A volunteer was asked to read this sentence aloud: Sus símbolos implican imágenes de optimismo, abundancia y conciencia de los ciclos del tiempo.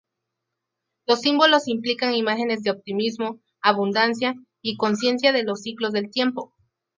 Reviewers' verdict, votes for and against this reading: rejected, 4, 4